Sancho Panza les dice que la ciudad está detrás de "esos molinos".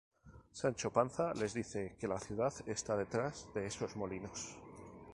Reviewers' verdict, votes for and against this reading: accepted, 2, 0